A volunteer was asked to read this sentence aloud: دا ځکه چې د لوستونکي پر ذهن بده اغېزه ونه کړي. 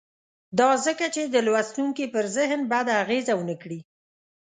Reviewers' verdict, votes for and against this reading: accepted, 2, 0